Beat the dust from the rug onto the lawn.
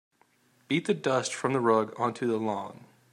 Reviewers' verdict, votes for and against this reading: accepted, 2, 0